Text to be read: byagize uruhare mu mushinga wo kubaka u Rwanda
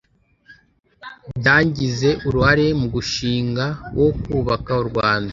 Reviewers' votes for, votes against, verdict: 0, 2, rejected